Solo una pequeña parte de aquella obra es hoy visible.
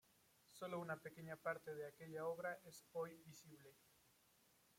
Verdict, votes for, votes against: accepted, 3, 0